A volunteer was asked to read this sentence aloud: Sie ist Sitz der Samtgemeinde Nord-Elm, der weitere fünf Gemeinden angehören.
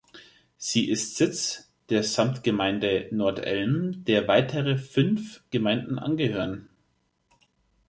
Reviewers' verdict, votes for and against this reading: accepted, 2, 0